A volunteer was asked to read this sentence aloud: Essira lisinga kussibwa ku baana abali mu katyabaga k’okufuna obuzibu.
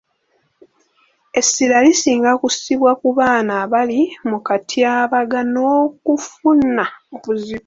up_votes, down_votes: 0, 2